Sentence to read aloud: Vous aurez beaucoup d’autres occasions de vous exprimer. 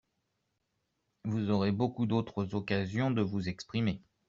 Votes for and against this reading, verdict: 2, 0, accepted